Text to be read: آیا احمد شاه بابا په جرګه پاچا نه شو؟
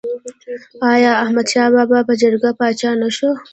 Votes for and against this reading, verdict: 2, 0, accepted